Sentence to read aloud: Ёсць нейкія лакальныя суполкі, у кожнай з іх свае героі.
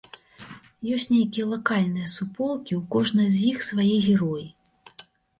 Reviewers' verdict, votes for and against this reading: accepted, 2, 0